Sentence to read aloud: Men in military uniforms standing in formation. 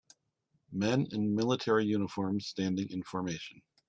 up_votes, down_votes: 2, 0